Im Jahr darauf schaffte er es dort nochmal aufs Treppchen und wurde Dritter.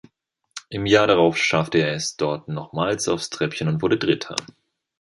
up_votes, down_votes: 1, 2